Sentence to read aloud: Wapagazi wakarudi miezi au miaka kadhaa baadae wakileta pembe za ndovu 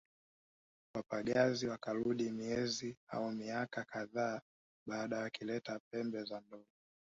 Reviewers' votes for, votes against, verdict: 1, 2, rejected